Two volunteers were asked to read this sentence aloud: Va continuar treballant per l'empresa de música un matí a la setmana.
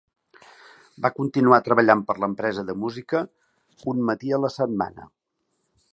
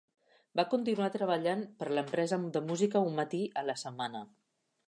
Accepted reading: first